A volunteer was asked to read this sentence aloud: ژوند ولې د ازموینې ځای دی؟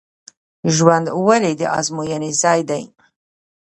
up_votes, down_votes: 0, 2